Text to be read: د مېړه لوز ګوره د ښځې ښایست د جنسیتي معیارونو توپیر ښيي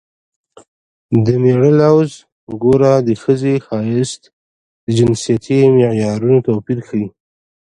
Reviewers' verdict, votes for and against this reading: rejected, 0, 2